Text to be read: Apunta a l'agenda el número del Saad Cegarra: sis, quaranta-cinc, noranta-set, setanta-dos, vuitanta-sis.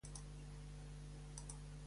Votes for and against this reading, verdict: 0, 2, rejected